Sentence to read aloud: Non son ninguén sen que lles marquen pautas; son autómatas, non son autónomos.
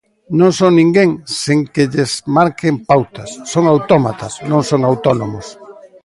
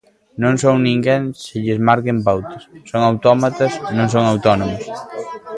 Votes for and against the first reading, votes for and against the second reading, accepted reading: 2, 0, 0, 2, first